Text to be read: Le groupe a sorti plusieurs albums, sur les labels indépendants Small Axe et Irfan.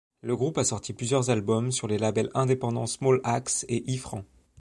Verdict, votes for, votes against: rejected, 1, 2